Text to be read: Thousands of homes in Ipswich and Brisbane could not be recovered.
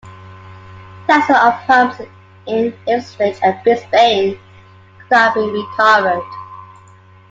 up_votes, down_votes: 0, 2